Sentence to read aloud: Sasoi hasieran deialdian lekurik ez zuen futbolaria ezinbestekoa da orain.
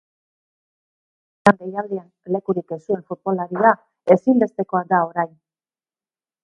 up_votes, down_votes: 1, 2